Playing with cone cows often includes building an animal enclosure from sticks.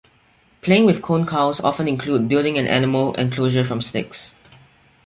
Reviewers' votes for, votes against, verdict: 1, 3, rejected